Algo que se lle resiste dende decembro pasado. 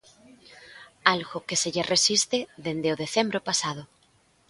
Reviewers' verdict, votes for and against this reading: rejected, 1, 2